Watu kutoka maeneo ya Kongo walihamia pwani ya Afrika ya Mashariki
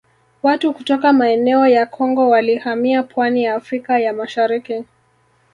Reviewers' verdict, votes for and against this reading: rejected, 1, 2